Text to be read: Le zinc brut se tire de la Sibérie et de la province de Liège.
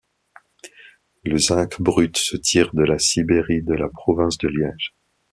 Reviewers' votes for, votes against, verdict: 0, 2, rejected